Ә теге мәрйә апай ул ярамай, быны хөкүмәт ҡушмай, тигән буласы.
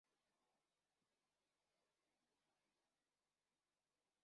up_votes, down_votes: 0, 2